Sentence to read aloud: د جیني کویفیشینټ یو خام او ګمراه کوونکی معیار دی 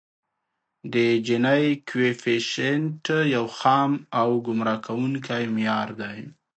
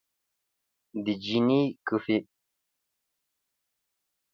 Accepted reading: first